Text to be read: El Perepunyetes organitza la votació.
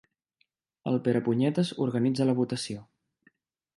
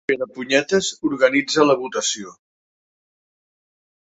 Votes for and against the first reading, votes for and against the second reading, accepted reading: 2, 0, 2, 4, first